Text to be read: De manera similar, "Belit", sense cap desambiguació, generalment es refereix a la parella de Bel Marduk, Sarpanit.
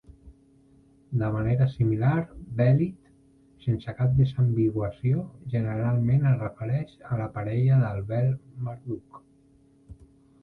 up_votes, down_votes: 0, 2